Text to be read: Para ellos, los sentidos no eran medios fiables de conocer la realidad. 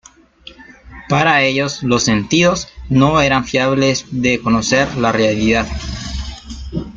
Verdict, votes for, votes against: rejected, 1, 2